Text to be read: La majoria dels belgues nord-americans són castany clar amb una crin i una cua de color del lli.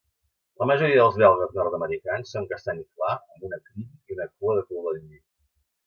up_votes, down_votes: 1, 2